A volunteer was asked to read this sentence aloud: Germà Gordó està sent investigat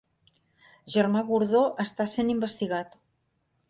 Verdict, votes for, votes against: accepted, 3, 0